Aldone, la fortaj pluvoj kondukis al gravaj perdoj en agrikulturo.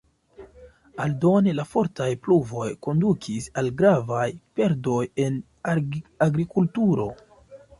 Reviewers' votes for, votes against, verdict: 2, 0, accepted